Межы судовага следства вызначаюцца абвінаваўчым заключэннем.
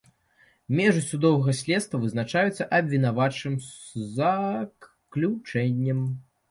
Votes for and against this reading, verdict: 1, 2, rejected